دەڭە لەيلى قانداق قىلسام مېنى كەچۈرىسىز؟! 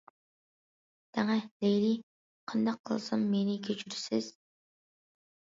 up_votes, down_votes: 2, 0